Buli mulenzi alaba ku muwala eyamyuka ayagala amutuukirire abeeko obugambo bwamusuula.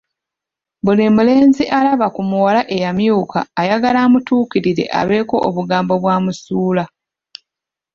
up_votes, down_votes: 2, 1